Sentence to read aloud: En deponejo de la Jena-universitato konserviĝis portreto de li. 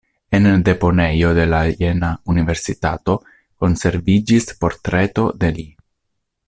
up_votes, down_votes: 2, 1